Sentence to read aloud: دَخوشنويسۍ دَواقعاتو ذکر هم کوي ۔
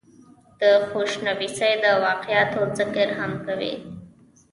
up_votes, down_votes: 2, 0